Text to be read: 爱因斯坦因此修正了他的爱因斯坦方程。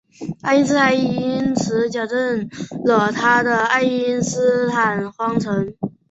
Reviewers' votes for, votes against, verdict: 2, 2, rejected